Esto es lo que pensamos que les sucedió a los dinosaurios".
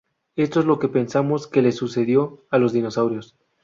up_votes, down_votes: 0, 2